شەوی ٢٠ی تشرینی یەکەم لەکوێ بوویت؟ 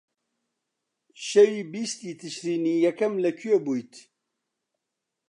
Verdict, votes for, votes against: rejected, 0, 2